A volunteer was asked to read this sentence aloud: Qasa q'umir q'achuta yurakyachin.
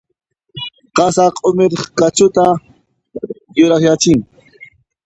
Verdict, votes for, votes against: rejected, 0, 2